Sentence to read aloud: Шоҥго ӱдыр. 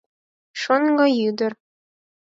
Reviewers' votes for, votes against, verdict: 4, 0, accepted